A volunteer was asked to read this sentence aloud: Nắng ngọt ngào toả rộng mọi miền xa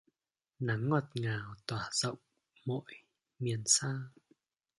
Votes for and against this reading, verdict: 1, 2, rejected